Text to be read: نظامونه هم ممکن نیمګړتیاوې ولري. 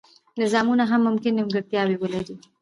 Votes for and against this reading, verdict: 2, 0, accepted